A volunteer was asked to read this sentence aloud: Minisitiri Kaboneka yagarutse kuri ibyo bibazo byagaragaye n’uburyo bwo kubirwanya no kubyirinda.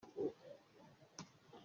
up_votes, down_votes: 0, 2